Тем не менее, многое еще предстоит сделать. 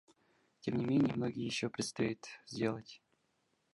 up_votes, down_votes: 0, 2